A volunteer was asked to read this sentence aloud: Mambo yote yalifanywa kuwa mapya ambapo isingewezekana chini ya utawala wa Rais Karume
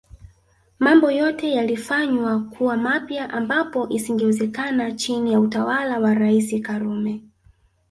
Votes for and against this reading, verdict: 1, 2, rejected